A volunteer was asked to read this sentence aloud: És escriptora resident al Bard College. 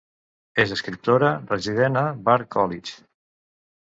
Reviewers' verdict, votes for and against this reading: rejected, 1, 2